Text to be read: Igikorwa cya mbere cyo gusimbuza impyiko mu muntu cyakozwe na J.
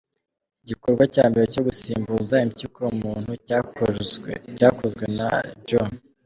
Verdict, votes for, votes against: rejected, 1, 3